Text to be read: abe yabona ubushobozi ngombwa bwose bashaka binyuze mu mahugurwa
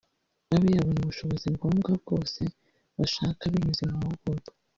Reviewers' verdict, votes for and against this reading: rejected, 1, 2